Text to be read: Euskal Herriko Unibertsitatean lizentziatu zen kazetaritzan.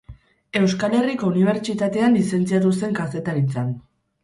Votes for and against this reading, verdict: 2, 2, rejected